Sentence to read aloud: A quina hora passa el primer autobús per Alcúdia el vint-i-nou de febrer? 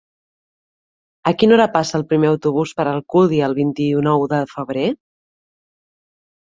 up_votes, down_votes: 2, 1